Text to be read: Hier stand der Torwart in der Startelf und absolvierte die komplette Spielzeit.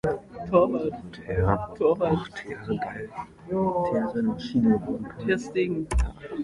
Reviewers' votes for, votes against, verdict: 0, 2, rejected